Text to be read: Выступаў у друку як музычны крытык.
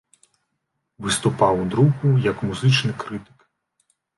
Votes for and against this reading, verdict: 2, 0, accepted